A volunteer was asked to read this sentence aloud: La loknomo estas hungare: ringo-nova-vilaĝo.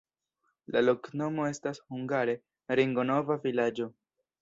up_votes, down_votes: 0, 2